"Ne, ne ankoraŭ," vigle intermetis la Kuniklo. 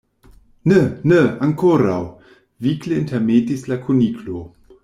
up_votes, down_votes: 1, 2